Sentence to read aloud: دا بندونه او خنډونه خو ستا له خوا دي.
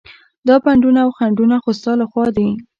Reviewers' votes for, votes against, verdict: 2, 0, accepted